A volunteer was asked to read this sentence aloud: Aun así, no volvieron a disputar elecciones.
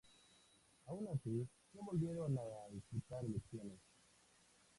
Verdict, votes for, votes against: rejected, 0, 2